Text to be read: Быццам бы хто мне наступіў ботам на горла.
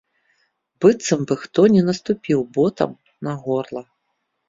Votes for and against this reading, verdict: 3, 1, accepted